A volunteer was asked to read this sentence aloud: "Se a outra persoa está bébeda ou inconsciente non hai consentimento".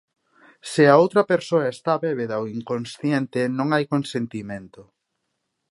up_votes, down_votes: 2, 0